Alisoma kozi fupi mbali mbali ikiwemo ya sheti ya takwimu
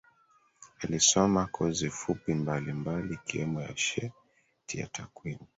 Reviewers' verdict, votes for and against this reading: accepted, 3, 1